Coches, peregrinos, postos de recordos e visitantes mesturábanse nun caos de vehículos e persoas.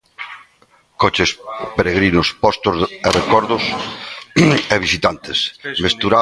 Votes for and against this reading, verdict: 0, 2, rejected